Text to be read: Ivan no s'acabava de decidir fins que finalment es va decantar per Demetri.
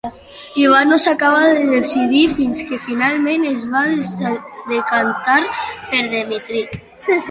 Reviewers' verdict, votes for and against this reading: rejected, 0, 2